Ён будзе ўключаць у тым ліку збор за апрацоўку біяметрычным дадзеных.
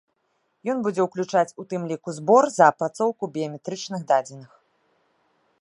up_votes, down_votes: 2, 1